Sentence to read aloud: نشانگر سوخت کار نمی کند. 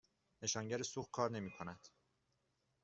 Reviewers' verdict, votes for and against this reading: accepted, 2, 1